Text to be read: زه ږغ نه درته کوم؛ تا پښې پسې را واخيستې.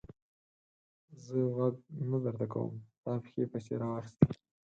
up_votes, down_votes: 0, 2